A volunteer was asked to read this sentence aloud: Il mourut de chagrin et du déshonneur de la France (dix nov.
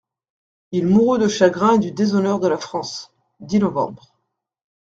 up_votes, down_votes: 2, 0